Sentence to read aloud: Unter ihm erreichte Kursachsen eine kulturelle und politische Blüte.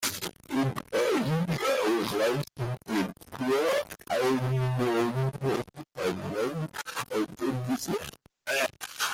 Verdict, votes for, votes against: rejected, 0, 2